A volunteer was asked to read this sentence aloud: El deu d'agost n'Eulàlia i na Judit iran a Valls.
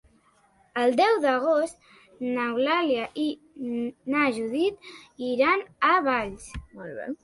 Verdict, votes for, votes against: accepted, 3, 0